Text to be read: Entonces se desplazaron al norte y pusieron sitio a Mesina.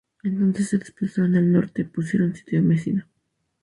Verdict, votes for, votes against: rejected, 2, 2